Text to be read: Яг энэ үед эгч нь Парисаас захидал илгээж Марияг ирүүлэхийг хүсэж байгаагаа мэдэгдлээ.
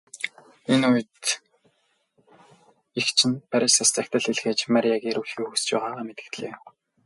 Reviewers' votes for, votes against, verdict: 0, 2, rejected